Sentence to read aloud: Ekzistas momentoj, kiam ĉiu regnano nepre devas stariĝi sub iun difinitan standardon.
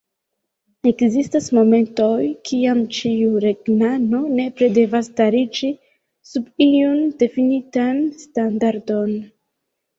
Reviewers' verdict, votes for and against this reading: accepted, 2, 1